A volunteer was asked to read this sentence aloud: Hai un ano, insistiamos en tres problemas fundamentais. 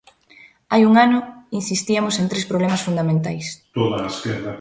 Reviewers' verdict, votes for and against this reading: rejected, 0, 2